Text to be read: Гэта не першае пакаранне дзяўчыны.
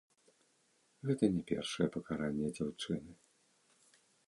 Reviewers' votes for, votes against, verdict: 1, 2, rejected